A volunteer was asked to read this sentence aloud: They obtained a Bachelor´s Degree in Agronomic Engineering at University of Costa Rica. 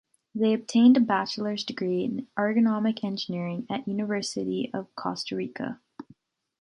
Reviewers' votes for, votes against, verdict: 1, 2, rejected